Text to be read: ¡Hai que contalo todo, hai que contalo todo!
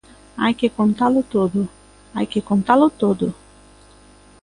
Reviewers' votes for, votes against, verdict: 2, 0, accepted